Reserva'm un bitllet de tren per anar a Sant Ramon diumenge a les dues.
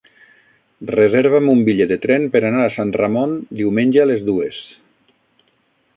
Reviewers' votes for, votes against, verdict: 9, 0, accepted